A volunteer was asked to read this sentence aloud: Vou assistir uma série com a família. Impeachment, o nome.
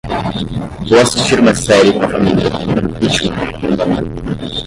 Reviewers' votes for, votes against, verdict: 0, 10, rejected